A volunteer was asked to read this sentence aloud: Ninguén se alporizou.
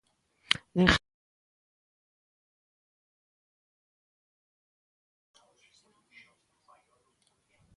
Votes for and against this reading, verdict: 0, 2, rejected